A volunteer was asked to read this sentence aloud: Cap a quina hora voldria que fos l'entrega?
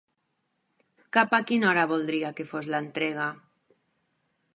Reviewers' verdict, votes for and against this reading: accepted, 4, 0